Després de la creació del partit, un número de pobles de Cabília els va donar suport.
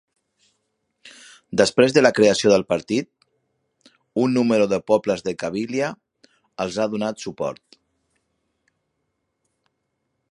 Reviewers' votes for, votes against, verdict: 0, 2, rejected